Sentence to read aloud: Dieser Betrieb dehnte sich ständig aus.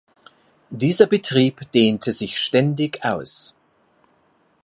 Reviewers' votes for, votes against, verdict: 2, 0, accepted